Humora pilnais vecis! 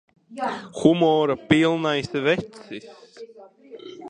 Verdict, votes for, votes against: rejected, 0, 2